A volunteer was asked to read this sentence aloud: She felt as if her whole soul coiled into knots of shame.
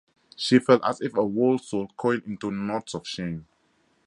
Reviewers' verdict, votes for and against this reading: accepted, 2, 0